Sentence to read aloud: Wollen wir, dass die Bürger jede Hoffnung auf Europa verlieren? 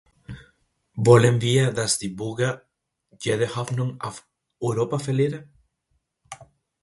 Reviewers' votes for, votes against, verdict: 0, 2, rejected